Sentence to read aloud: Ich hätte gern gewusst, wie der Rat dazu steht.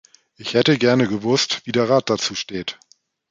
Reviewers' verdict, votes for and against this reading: rejected, 1, 2